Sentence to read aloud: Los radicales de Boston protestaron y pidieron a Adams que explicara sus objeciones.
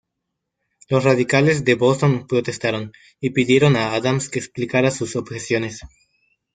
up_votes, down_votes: 2, 0